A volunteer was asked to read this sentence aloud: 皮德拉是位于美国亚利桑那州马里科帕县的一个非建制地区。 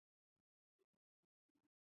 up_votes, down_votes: 0, 2